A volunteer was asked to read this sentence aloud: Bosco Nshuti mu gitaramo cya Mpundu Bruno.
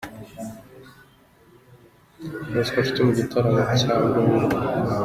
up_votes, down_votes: 2, 0